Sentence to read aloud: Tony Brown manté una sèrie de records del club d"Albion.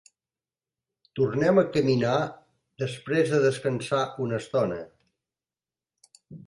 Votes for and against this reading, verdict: 0, 2, rejected